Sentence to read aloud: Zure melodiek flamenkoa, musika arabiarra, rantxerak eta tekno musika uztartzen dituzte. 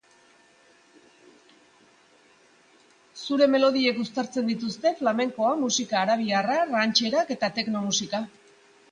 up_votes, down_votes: 1, 2